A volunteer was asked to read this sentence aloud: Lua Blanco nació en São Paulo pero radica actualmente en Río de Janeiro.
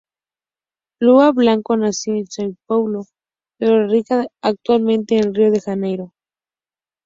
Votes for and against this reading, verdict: 0, 2, rejected